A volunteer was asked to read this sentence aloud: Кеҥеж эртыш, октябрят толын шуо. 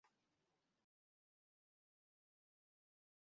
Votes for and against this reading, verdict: 0, 2, rejected